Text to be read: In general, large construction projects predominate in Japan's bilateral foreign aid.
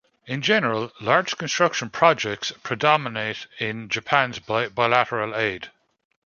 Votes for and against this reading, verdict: 1, 2, rejected